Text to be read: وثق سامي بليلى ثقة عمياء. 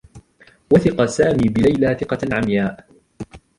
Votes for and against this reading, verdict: 2, 0, accepted